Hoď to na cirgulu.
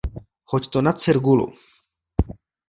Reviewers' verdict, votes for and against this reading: accepted, 2, 0